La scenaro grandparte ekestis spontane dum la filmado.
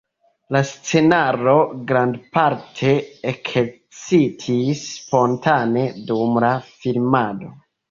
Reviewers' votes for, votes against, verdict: 1, 2, rejected